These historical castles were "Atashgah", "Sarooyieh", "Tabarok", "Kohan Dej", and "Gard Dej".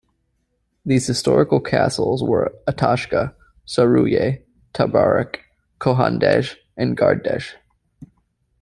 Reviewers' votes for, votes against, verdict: 2, 0, accepted